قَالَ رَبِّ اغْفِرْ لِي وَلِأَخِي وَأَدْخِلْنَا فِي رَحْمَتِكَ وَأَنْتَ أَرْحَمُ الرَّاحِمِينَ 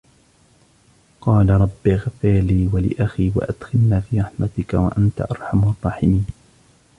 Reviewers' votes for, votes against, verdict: 1, 2, rejected